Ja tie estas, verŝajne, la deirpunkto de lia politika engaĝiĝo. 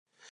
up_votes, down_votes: 1, 2